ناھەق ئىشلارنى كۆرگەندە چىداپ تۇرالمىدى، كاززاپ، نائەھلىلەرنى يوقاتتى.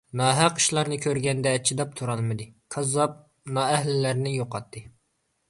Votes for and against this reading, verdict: 2, 0, accepted